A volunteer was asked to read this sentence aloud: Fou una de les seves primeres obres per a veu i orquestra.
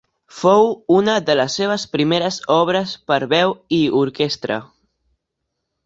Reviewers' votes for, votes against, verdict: 1, 2, rejected